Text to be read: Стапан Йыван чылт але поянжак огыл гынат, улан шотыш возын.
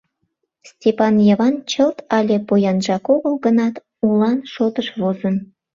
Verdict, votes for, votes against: rejected, 0, 2